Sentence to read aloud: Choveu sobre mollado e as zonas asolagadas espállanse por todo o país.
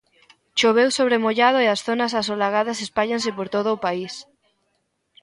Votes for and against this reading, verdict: 2, 0, accepted